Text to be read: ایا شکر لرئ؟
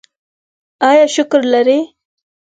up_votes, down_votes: 4, 0